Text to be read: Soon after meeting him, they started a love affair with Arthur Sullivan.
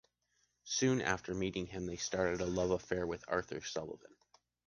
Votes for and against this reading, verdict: 2, 0, accepted